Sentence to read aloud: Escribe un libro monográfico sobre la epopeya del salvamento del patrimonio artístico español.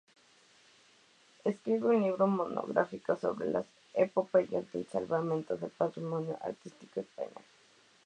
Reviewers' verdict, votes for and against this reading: rejected, 0, 2